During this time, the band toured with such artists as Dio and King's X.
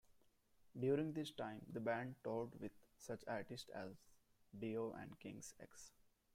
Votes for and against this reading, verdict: 2, 1, accepted